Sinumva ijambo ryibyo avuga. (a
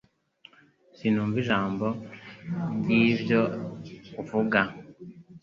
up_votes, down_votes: 0, 2